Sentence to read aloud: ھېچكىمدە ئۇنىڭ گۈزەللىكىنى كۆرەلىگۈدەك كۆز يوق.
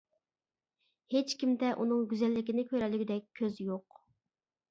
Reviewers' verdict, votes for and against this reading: accepted, 2, 0